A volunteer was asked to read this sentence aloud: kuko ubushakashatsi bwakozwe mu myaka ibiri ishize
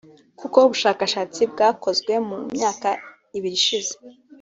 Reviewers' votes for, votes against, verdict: 2, 0, accepted